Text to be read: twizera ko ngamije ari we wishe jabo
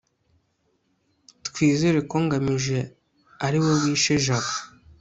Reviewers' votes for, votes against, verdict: 2, 0, accepted